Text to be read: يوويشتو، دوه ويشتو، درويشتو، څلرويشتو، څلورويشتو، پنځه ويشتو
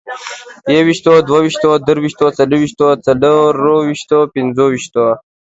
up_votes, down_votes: 2, 0